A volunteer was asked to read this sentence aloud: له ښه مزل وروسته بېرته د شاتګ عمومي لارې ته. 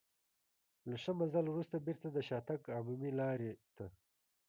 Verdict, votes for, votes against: accepted, 2, 0